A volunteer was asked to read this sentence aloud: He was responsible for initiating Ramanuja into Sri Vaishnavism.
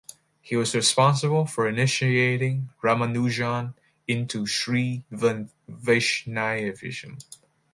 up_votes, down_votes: 1, 2